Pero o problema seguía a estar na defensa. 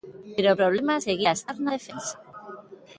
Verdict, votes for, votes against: rejected, 1, 2